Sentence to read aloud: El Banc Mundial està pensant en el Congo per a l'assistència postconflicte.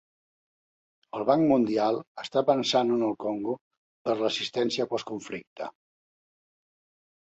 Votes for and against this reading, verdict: 1, 2, rejected